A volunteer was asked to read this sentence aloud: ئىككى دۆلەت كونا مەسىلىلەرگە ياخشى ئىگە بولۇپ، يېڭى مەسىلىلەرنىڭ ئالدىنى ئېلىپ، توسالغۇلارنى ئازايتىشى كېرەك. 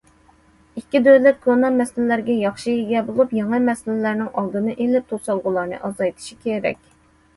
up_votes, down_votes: 2, 0